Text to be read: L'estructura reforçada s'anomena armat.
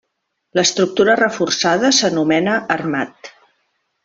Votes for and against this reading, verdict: 1, 2, rejected